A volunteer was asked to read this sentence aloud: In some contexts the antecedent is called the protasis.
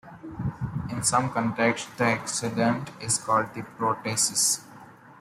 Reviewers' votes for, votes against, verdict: 2, 0, accepted